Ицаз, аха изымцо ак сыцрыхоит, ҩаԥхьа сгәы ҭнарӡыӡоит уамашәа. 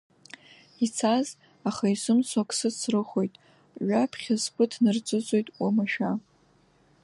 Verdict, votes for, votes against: rejected, 1, 2